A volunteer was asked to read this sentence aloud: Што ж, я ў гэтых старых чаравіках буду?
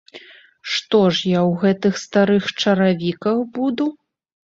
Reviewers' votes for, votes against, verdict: 1, 2, rejected